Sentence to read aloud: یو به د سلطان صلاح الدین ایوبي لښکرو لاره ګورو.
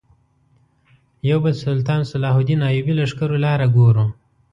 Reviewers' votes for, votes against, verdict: 1, 2, rejected